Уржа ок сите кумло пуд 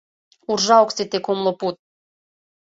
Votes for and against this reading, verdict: 3, 0, accepted